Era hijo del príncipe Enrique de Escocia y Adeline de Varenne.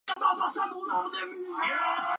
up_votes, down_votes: 0, 2